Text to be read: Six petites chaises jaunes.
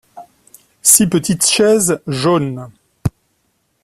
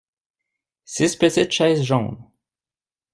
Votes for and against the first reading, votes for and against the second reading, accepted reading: 2, 0, 1, 2, first